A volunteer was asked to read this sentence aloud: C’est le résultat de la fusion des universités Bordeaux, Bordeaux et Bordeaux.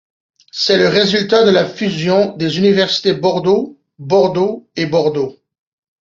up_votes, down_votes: 2, 0